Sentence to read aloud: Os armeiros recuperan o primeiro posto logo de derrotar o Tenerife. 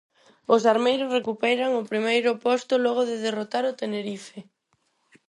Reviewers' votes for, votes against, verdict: 4, 0, accepted